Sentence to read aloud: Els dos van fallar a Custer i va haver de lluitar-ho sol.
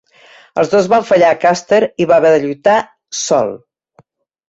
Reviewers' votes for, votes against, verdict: 0, 2, rejected